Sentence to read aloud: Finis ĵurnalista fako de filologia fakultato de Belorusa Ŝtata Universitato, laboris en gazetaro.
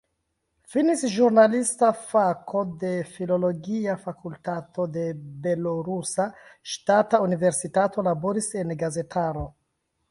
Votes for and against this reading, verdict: 2, 1, accepted